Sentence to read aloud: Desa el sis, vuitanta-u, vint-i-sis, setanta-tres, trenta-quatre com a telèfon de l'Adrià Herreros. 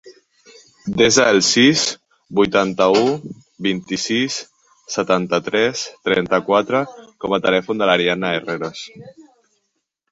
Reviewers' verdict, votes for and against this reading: rejected, 0, 2